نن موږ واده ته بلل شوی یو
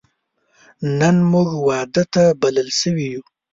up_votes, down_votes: 2, 0